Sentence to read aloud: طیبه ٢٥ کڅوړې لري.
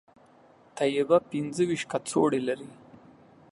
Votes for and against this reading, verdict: 0, 2, rejected